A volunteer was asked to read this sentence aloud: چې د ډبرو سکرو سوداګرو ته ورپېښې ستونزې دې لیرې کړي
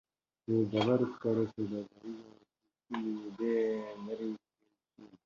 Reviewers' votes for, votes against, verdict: 0, 2, rejected